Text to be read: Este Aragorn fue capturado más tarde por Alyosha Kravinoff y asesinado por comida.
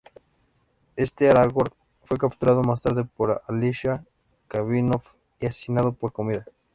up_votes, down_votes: 0, 2